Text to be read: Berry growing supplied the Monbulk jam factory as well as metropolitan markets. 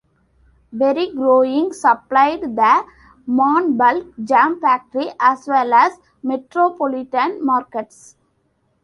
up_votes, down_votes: 2, 0